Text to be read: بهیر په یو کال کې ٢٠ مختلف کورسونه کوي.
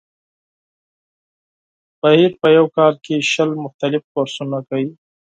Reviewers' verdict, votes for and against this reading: rejected, 0, 2